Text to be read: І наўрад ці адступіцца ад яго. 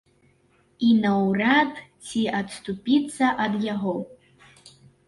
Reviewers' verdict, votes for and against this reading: rejected, 0, 2